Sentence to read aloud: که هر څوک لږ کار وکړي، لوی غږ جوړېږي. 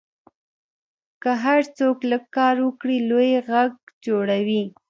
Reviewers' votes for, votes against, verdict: 2, 0, accepted